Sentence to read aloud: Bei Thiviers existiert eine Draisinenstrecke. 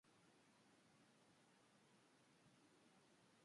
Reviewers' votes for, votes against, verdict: 0, 2, rejected